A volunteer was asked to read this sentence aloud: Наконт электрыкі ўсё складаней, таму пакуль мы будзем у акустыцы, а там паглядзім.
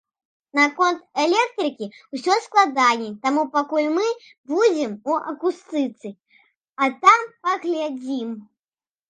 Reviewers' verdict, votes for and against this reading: rejected, 1, 2